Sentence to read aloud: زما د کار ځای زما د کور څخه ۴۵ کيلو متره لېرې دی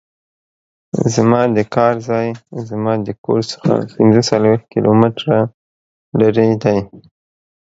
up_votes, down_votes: 0, 2